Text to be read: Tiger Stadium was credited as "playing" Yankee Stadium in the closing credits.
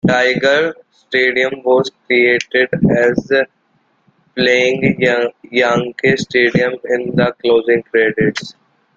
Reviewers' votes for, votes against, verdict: 1, 2, rejected